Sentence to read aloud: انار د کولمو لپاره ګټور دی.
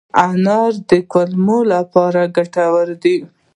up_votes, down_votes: 1, 2